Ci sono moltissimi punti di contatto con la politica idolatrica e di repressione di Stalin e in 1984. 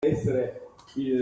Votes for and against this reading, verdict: 0, 2, rejected